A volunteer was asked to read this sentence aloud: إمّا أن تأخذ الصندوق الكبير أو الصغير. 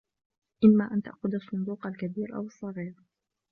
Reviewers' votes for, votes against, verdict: 2, 0, accepted